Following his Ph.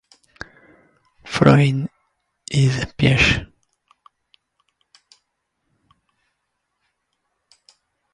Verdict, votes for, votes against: rejected, 0, 2